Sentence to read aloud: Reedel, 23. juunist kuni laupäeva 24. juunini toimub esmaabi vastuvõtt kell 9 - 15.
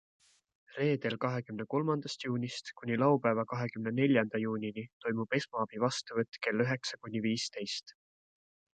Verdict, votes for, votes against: rejected, 0, 2